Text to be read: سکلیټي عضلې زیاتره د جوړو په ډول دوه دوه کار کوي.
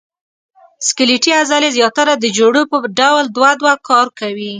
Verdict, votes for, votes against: accepted, 2, 0